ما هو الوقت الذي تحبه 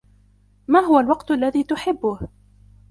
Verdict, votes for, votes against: accepted, 2, 0